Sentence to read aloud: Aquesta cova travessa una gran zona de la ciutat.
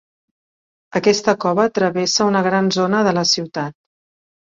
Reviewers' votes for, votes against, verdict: 3, 0, accepted